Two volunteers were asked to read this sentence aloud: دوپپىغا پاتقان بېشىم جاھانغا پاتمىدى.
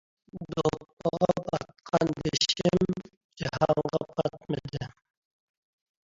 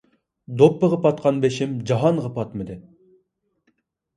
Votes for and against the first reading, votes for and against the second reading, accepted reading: 1, 2, 2, 0, second